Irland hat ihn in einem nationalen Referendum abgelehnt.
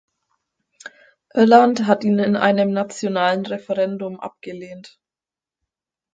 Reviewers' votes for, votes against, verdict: 4, 0, accepted